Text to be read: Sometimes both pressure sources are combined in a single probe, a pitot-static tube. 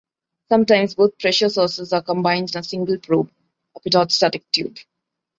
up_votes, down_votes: 2, 0